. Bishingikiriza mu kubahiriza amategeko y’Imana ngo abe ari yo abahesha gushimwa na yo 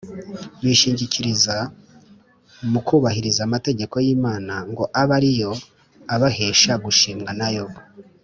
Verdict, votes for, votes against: accepted, 3, 0